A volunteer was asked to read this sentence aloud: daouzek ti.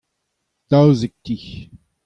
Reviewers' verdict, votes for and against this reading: accepted, 2, 0